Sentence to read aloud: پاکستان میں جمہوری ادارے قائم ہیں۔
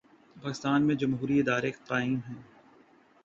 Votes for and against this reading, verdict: 0, 2, rejected